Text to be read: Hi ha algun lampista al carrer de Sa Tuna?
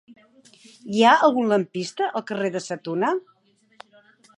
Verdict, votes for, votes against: accepted, 2, 0